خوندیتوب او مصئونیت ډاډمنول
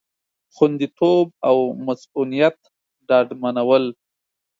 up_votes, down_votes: 2, 0